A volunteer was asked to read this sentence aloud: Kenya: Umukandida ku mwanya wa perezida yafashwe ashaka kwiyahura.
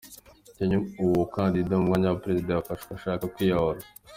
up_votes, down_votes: 3, 2